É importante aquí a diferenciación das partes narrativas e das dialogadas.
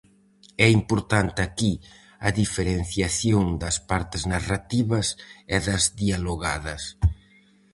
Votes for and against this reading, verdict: 4, 0, accepted